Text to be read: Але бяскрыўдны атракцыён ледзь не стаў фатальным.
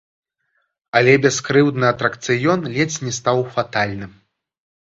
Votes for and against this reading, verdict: 1, 2, rejected